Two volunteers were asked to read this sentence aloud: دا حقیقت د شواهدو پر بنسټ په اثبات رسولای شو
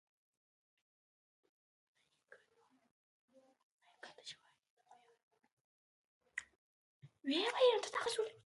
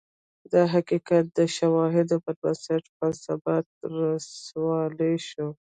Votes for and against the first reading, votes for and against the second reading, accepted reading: 1, 2, 2, 0, second